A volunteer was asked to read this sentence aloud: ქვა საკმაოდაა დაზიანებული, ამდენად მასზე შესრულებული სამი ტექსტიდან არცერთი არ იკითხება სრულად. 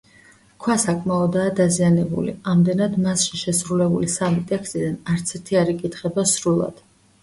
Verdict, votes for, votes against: accepted, 2, 1